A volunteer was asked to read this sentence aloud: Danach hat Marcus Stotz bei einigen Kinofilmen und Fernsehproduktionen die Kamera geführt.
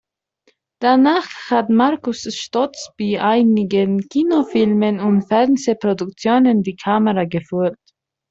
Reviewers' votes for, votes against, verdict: 0, 2, rejected